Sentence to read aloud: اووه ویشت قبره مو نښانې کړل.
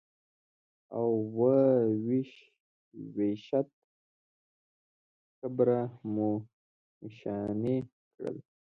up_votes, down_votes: 1, 2